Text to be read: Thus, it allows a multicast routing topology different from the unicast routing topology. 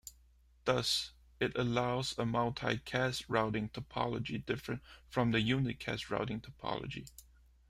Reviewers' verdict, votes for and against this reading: accepted, 2, 0